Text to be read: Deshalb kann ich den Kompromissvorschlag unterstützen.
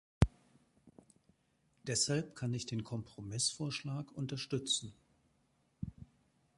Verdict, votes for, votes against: accepted, 3, 0